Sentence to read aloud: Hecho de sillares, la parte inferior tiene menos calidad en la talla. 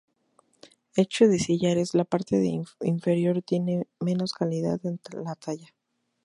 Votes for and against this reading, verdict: 0, 2, rejected